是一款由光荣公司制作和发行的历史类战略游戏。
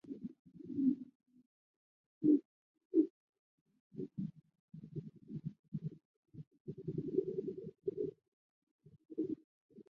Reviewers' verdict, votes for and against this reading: rejected, 0, 2